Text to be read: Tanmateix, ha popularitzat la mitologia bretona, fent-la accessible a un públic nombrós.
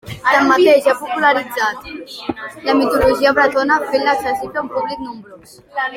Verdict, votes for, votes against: rejected, 1, 2